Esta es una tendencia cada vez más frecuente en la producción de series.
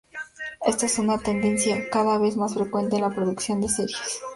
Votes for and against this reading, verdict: 4, 0, accepted